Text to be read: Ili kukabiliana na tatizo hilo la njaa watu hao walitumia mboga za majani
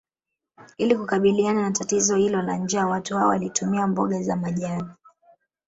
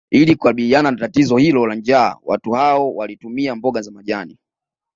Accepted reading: second